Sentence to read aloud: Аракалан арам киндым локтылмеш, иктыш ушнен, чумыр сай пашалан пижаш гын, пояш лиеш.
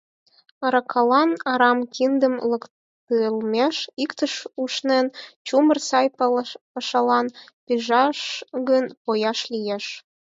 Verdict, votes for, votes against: rejected, 0, 4